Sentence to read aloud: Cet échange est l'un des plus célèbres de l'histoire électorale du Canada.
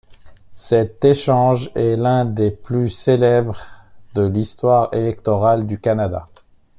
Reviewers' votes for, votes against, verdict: 1, 2, rejected